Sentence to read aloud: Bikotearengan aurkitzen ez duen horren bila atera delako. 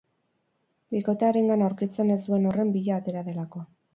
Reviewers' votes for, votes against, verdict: 0, 2, rejected